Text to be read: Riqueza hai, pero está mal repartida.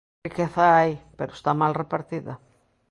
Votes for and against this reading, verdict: 1, 2, rejected